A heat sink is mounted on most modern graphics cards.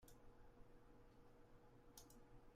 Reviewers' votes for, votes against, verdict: 0, 3, rejected